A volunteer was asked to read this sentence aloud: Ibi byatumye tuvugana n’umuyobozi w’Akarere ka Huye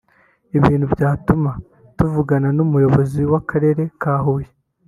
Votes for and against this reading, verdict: 1, 2, rejected